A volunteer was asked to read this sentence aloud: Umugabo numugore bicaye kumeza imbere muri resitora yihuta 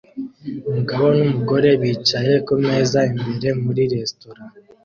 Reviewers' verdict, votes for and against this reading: rejected, 0, 2